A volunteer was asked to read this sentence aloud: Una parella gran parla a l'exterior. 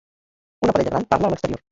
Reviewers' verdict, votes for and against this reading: rejected, 1, 2